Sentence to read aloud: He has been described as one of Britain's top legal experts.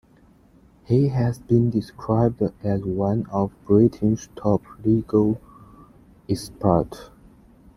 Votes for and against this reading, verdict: 2, 1, accepted